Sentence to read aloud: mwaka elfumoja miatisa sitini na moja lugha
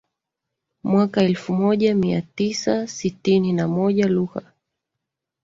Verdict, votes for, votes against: accepted, 2, 0